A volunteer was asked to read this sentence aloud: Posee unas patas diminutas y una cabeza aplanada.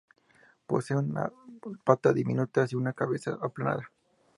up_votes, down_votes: 2, 0